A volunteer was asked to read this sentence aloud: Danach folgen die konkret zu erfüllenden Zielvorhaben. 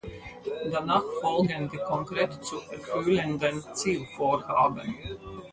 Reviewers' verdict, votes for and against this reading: accepted, 6, 0